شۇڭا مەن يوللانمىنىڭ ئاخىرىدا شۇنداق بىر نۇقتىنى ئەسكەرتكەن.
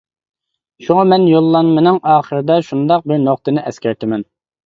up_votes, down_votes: 1, 2